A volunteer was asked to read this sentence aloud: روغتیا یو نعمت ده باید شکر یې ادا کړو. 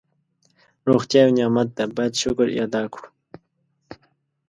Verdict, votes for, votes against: accepted, 2, 0